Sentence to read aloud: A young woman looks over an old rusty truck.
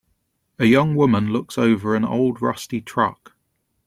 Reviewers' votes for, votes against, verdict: 3, 0, accepted